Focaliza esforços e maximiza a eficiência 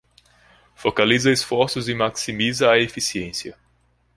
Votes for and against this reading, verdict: 2, 0, accepted